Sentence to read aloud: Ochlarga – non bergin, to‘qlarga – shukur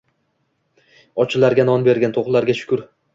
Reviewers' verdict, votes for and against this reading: rejected, 1, 2